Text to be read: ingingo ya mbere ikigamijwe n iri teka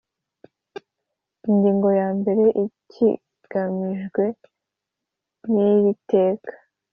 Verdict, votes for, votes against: accepted, 2, 0